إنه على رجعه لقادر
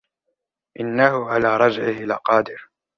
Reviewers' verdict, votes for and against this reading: rejected, 1, 2